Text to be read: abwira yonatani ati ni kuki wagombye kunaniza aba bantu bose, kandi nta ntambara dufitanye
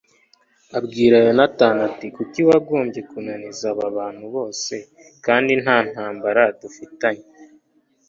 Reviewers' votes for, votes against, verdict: 2, 0, accepted